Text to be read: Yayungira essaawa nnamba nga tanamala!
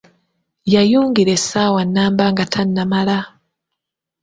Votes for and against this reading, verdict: 2, 0, accepted